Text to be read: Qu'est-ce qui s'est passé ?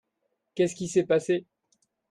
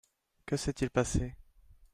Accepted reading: first